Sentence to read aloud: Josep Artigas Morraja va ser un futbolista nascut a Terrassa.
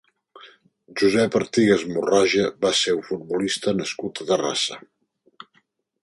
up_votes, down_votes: 3, 0